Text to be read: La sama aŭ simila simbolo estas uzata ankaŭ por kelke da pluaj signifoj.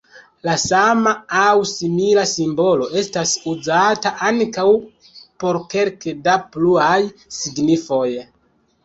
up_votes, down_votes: 0, 2